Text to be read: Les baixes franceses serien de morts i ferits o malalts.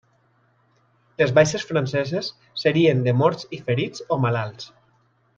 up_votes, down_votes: 3, 0